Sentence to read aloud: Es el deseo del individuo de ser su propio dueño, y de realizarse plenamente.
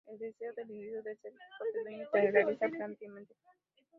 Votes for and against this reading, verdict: 2, 0, accepted